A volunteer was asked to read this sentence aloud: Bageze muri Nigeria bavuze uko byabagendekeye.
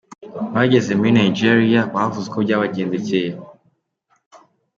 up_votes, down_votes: 2, 0